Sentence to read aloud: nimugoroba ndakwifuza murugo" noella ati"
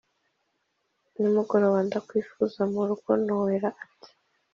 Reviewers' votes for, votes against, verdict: 2, 0, accepted